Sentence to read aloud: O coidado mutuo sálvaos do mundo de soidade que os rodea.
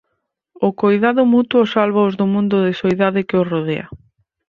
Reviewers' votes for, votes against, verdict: 2, 4, rejected